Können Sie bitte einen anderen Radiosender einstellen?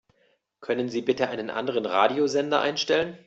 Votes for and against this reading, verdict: 2, 0, accepted